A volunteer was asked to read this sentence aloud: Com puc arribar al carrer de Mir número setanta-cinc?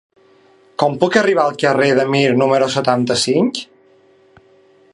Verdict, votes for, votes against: accepted, 3, 0